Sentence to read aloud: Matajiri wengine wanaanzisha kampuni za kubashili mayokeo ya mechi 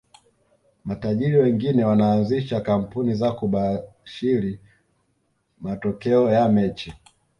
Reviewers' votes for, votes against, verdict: 1, 2, rejected